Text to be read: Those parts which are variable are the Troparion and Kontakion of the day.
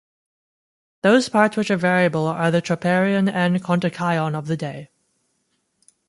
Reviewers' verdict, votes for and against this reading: accepted, 2, 0